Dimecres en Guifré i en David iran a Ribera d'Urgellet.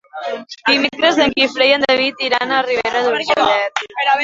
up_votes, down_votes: 0, 2